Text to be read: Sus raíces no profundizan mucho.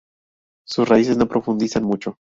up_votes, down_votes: 0, 2